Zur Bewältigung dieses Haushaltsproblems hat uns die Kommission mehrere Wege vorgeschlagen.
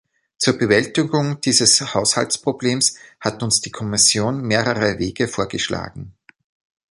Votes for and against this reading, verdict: 2, 0, accepted